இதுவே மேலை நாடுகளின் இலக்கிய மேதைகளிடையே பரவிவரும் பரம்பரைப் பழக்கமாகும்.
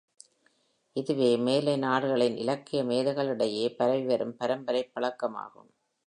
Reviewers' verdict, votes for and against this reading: accepted, 2, 0